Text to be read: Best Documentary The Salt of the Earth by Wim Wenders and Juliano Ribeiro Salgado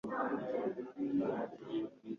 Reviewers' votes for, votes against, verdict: 1, 2, rejected